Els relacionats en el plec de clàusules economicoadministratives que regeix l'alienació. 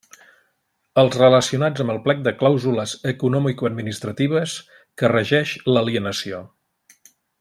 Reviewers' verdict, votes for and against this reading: accepted, 2, 0